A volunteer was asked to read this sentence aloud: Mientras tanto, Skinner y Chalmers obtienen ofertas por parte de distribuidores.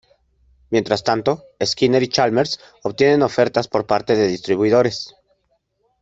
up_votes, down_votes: 2, 0